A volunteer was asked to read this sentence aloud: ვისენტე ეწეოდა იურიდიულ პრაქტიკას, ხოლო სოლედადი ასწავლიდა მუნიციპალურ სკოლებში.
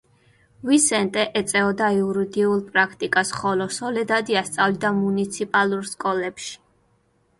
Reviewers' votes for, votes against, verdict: 2, 0, accepted